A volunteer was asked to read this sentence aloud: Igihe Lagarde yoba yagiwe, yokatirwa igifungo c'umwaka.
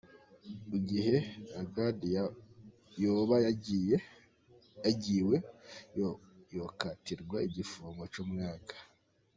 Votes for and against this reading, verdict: 0, 2, rejected